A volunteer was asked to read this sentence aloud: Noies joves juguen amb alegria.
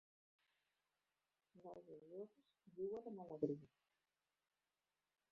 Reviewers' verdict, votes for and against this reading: rejected, 0, 2